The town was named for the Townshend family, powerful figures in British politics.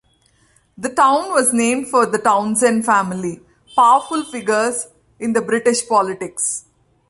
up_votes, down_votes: 1, 2